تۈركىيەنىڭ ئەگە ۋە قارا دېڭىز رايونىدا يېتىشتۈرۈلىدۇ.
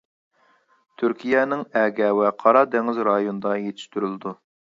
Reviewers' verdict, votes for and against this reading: accepted, 2, 0